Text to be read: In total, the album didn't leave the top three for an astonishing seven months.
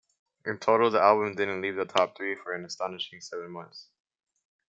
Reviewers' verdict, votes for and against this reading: accepted, 2, 0